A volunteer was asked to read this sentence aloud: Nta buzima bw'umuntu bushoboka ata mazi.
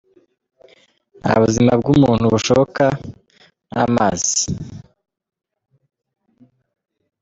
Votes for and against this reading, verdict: 1, 2, rejected